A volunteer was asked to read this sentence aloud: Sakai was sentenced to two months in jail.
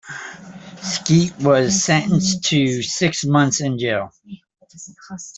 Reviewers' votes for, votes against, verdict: 1, 2, rejected